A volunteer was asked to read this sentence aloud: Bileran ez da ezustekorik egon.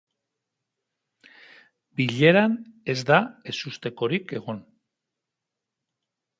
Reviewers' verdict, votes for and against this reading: accepted, 2, 0